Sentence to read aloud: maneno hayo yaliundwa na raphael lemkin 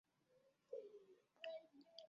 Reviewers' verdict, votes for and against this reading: rejected, 0, 2